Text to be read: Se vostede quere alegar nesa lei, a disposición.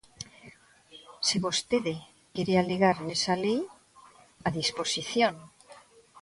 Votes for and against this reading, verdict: 2, 0, accepted